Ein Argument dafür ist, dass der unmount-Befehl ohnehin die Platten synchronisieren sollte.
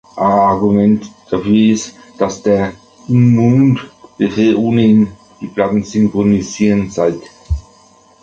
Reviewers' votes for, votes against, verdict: 0, 2, rejected